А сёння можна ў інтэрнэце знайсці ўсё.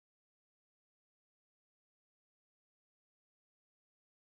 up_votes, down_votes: 0, 2